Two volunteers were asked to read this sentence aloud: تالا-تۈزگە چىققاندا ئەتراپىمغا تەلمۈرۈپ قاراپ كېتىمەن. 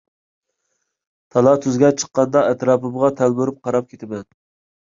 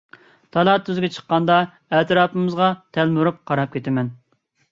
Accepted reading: first